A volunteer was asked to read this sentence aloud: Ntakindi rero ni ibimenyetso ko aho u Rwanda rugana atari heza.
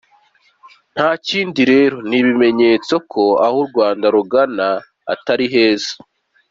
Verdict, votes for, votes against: accepted, 2, 0